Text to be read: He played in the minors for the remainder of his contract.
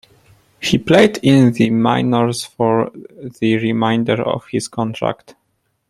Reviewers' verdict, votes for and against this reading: rejected, 0, 2